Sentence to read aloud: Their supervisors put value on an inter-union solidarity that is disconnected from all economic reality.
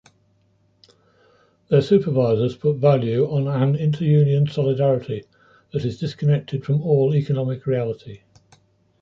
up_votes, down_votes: 2, 0